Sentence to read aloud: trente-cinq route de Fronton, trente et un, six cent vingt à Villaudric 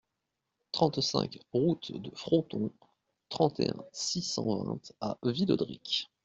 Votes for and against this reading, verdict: 2, 0, accepted